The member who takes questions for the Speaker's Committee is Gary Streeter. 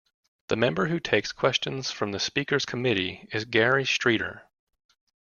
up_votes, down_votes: 2, 1